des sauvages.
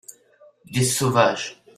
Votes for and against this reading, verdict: 1, 2, rejected